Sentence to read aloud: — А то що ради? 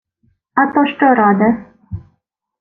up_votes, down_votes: 0, 2